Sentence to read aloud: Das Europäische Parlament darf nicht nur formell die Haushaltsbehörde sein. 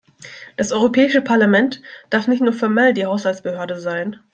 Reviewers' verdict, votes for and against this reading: accepted, 2, 0